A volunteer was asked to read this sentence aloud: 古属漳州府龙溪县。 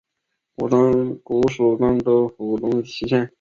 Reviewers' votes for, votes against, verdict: 2, 5, rejected